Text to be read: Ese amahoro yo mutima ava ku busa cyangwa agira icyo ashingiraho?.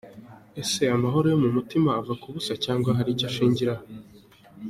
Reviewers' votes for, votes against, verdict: 2, 0, accepted